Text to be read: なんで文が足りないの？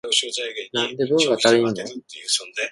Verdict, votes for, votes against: rejected, 1, 2